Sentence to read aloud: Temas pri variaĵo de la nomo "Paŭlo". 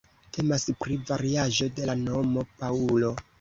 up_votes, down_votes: 1, 2